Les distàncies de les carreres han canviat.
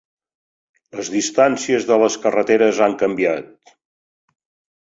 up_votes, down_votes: 1, 3